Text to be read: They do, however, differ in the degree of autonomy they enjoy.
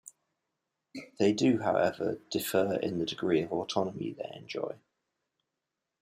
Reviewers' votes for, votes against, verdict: 2, 1, accepted